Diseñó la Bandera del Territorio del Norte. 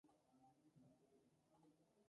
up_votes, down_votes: 0, 4